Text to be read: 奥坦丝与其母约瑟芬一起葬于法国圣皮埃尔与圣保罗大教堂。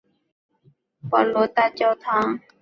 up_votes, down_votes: 0, 2